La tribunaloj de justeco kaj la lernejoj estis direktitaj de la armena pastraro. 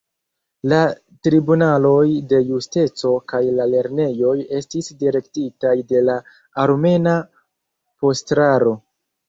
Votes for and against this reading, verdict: 0, 2, rejected